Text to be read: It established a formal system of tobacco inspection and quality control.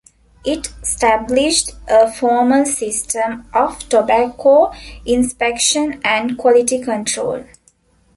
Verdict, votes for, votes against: rejected, 0, 2